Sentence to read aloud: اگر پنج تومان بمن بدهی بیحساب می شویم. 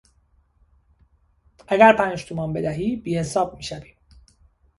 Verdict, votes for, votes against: rejected, 1, 2